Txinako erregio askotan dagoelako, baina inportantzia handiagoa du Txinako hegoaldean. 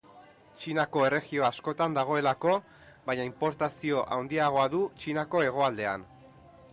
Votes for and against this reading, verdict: 1, 2, rejected